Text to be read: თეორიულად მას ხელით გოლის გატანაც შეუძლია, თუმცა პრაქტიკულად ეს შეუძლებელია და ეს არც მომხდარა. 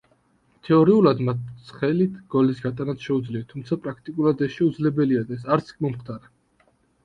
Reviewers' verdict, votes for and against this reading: rejected, 1, 2